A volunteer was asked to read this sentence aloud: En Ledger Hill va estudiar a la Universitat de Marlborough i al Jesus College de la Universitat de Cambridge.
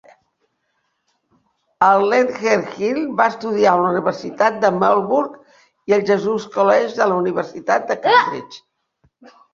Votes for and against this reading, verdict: 0, 2, rejected